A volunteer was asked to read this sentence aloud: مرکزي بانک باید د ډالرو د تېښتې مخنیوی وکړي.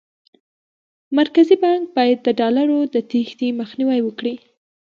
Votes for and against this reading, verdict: 1, 2, rejected